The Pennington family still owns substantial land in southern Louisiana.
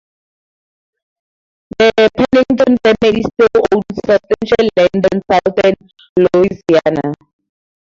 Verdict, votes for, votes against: rejected, 0, 4